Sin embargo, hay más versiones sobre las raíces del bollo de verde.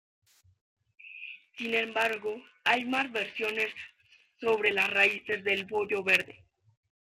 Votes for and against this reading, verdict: 2, 0, accepted